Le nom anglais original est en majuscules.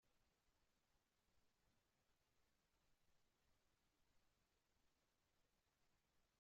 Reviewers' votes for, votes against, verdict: 0, 2, rejected